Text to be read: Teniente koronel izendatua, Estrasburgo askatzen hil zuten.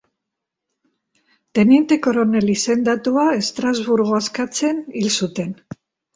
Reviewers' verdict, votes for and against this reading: accepted, 2, 0